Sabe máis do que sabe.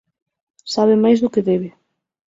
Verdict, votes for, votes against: rejected, 0, 9